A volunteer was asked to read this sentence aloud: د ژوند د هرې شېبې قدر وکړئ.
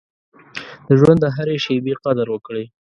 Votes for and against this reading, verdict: 2, 0, accepted